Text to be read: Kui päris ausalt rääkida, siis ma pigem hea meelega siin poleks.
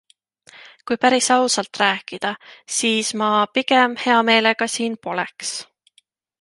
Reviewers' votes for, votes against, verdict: 2, 0, accepted